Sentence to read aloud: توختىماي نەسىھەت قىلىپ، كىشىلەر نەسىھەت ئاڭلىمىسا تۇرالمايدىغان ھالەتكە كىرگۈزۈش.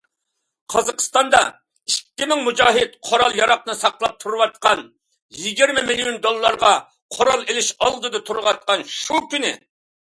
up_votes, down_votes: 0, 2